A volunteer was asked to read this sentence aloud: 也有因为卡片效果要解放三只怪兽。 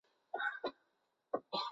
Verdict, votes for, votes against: rejected, 1, 5